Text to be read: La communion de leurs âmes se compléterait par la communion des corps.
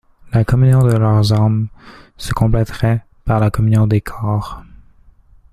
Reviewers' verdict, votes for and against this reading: accepted, 2, 1